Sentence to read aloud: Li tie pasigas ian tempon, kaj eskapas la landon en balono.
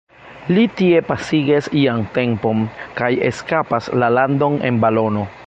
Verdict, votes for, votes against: accepted, 2, 0